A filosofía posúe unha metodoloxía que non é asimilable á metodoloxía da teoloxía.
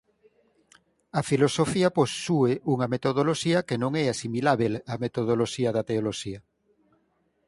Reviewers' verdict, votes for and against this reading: rejected, 2, 4